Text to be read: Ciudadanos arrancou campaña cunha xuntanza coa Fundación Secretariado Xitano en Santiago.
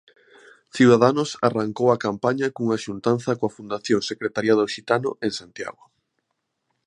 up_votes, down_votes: 0, 2